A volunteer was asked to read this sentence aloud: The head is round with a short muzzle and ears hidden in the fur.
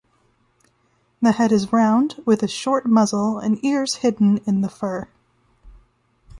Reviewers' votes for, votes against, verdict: 2, 0, accepted